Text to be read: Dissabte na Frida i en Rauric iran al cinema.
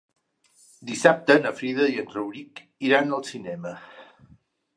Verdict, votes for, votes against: accepted, 3, 0